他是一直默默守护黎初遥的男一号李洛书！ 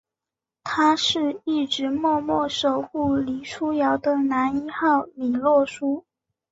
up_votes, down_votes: 2, 0